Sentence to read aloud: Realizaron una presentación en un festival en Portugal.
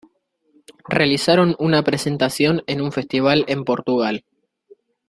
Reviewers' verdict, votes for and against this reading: accepted, 2, 0